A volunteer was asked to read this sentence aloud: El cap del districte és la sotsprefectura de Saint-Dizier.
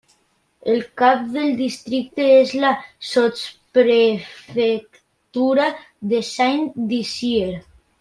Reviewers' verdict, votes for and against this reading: accepted, 3, 1